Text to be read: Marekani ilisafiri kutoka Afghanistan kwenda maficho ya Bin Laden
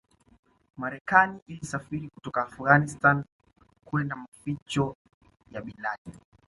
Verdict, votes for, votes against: accepted, 2, 0